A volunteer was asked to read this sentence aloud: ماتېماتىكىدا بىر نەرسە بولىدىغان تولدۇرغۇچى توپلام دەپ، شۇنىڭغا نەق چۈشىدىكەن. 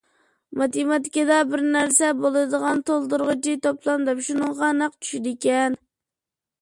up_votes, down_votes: 2, 0